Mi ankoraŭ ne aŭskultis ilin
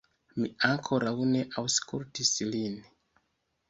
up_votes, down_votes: 1, 2